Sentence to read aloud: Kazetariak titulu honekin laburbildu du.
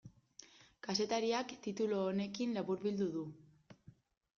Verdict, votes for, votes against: accepted, 2, 0